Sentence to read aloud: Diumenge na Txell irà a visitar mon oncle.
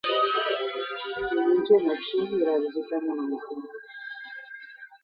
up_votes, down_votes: 0, 2